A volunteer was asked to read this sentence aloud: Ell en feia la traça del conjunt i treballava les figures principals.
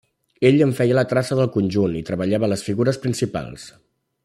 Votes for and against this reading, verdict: 1, 2, rejected